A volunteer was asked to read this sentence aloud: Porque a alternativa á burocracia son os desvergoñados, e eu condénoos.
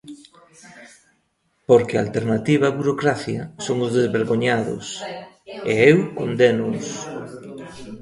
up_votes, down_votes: 2, 0